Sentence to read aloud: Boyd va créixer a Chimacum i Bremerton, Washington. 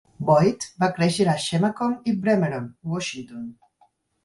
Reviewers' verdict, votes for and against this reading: accepted, 4, 0